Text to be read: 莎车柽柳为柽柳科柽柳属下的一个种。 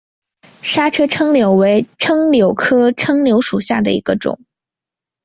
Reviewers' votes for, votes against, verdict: 1, 4, rejected